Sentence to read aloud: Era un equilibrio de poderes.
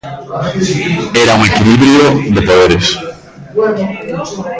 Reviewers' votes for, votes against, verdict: 1, 2, rejected